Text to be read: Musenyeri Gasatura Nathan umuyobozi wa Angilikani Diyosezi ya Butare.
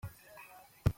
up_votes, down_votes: 0, 2